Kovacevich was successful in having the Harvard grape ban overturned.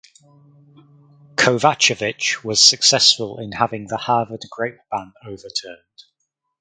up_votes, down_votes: 4, 0